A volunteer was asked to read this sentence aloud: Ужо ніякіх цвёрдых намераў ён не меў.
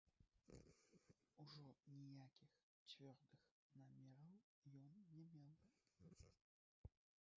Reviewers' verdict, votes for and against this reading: rejected, 1, 3